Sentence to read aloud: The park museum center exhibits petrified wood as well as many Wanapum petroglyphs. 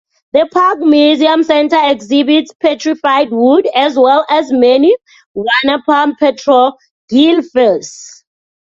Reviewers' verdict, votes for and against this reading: rejected, 0, 2